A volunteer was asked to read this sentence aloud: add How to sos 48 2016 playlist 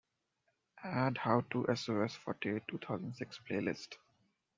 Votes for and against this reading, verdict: 0, 2, rejected